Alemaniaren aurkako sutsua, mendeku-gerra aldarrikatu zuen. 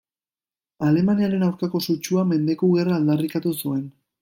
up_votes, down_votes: 2, 0